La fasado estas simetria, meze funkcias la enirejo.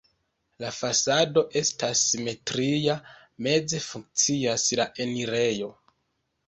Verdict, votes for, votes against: accepted, 3, 1